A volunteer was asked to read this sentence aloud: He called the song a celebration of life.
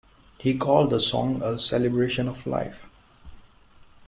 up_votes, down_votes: 0, 2